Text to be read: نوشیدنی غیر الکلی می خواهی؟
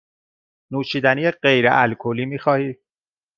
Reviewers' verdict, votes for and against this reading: accepted, 2, 0